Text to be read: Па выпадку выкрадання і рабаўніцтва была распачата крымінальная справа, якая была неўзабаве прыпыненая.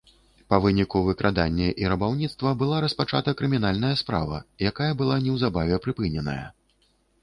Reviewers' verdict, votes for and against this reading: rejected, 1, 2